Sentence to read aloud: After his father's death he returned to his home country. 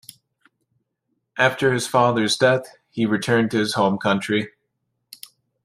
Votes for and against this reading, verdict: 2, 0, accepted